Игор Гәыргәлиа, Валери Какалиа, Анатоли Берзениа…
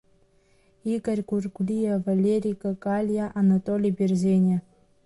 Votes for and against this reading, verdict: 2, 0, accepted